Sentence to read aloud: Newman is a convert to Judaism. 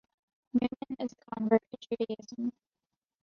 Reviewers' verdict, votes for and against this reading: rejected, 0, 2